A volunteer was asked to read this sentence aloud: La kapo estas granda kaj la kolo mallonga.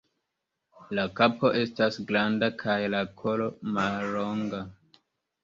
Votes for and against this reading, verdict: 2, 0, accepted